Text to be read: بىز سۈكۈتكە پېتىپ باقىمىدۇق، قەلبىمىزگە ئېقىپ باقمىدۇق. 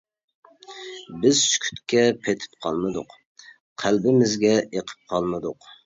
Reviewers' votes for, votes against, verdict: 0, 2, rejected